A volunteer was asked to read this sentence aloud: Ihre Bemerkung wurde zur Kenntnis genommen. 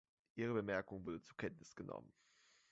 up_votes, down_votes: 1, 2